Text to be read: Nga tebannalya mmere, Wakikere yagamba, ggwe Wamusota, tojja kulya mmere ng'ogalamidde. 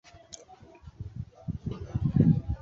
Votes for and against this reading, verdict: 0, 2, rejected